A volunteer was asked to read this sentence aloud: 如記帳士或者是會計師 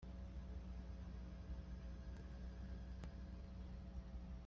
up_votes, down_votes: 0, 2